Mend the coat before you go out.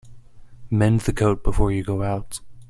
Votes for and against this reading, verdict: 2, 0, accepted